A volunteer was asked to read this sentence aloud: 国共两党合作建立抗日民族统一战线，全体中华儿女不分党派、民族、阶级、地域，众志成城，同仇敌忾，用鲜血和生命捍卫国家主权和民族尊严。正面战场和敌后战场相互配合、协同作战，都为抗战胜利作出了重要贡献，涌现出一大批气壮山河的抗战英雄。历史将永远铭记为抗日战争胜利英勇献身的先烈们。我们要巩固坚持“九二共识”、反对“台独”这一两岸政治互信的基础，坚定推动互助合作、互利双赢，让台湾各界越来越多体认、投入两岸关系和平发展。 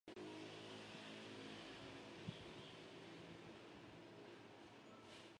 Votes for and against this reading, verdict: 0, 4, rejected